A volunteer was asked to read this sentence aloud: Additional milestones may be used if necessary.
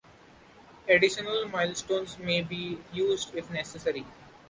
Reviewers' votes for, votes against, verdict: 2, 0, accepted